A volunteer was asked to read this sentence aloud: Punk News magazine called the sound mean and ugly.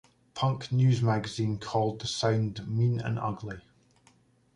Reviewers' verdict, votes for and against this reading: accepted, 2, 0